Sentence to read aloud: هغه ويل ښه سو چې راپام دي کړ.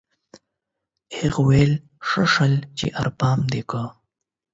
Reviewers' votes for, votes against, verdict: 0, 8, rejected